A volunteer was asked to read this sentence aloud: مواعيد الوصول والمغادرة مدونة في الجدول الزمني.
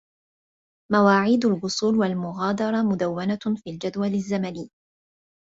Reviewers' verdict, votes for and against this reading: accepted, 2, 1